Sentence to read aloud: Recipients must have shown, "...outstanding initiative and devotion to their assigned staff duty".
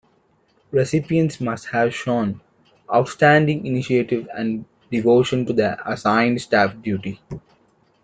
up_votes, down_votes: 1, 2